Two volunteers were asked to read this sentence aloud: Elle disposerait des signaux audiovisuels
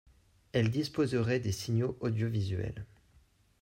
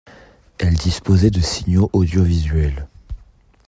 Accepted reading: first